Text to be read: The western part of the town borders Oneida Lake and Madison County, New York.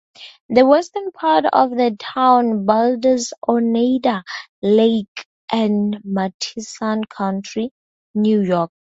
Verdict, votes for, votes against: rejected, 2, 10